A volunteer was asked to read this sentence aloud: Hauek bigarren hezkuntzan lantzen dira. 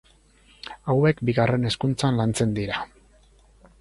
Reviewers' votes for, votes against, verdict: 4, 0, accepted